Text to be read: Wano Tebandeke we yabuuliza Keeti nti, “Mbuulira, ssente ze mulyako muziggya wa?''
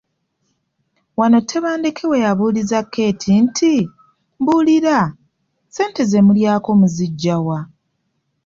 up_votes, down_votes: 2, 0